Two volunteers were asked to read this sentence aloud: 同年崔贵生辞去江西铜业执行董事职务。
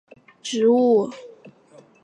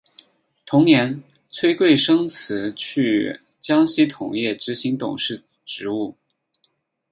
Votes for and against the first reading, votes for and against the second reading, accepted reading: 0, 3, 4, 0, second